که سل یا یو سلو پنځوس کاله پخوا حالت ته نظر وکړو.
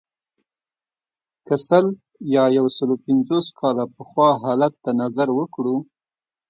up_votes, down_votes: 2, 0